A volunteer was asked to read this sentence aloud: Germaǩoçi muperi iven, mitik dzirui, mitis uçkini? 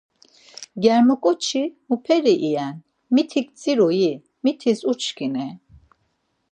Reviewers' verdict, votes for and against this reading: accepted, 4, 0